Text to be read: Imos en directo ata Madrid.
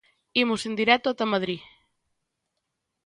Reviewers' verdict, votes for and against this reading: accepted, 2, 0